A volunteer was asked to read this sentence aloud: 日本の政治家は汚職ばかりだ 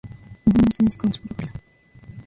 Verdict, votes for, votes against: rejected, 1, 2